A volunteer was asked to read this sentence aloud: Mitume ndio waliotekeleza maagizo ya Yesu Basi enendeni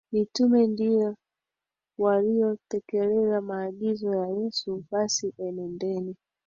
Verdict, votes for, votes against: accepted, 2, 1